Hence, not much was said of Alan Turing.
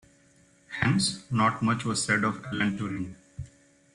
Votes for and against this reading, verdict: 2, 0, accepted